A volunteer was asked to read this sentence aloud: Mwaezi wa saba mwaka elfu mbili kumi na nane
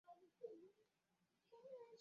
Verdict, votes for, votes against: rejected, 0, 2